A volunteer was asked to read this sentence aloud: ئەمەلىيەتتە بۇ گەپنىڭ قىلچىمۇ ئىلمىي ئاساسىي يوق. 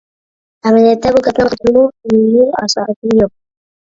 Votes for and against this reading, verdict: 0, 2, rejected